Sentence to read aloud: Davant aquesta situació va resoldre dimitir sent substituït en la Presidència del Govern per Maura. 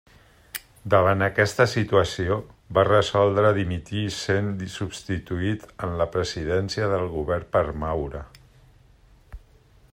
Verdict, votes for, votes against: accepted, 2, 0